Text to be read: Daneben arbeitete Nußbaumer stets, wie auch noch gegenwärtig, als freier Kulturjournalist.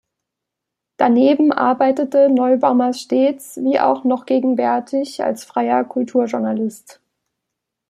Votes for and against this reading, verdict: 0, 2, rejected